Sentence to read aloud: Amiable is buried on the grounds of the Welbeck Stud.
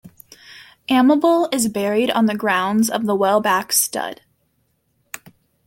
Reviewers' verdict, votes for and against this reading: rejected, 0, 2